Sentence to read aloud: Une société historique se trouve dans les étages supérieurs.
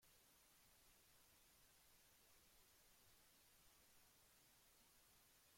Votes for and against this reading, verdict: 0, 2, rejected